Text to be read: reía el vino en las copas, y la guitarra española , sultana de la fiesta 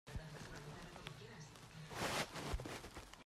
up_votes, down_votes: 0, 2